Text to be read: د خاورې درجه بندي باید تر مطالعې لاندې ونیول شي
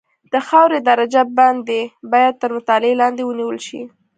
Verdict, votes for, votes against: accepted, 2, 0